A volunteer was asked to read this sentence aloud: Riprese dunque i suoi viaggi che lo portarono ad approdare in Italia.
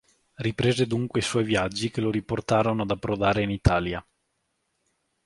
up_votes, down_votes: 1, 2